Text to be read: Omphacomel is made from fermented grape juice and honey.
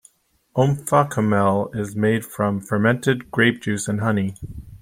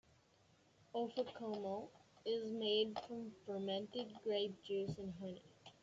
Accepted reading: first